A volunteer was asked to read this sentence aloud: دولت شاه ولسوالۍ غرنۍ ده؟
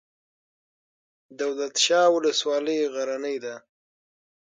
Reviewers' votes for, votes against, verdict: 6, 3, accepted